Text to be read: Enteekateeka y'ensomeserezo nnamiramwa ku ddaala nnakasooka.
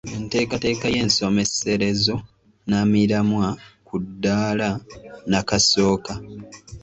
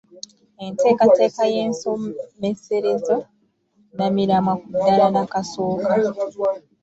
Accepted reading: first